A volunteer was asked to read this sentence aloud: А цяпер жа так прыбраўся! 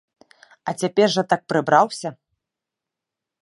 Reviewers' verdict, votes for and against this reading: accepted, 2, 0